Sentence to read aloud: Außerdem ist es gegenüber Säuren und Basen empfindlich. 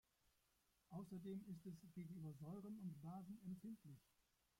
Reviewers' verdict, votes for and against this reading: rejected, 0, 2